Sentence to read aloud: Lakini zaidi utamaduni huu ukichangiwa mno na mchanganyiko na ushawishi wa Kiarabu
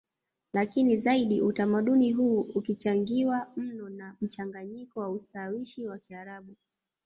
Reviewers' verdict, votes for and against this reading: rejected, 0, 2